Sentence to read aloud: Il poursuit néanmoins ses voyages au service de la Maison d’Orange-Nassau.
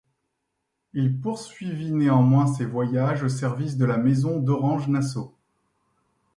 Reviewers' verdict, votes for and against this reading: rejected, 1, 3